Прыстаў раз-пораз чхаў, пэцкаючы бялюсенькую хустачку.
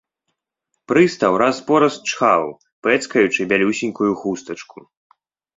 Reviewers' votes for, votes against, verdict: 2, 0, accepted